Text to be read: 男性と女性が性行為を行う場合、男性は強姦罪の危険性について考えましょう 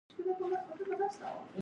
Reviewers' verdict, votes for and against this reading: rejected, 1, 2